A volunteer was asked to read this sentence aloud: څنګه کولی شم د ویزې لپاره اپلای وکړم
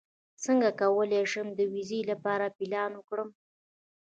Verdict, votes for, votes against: accepted, 2, 0